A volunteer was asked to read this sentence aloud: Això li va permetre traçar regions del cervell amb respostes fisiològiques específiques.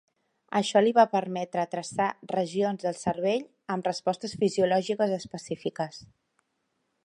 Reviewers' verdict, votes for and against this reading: accepted, 3, 0